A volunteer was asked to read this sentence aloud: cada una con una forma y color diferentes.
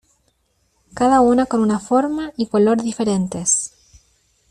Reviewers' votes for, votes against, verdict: 2, 0, accepted